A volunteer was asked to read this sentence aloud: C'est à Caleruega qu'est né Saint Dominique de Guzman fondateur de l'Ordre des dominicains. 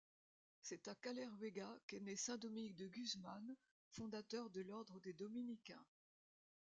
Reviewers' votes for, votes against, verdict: 1, 2, rejected